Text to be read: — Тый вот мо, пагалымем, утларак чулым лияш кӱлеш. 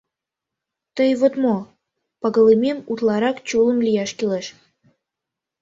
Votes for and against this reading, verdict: 2, 0, accepted